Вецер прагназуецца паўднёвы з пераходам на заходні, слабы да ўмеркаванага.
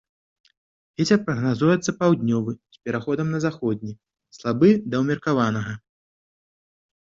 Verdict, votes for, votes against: accepted, 2, 0